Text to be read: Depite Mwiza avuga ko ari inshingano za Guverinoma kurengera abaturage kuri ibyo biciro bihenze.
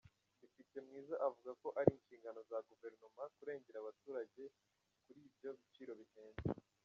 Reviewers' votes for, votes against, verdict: 1, 2, rejected